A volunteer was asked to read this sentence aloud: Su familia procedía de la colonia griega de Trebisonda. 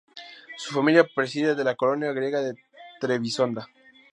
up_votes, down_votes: 2, 2